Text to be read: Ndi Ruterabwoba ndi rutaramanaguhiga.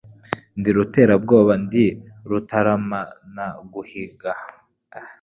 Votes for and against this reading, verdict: 2, 0, accepted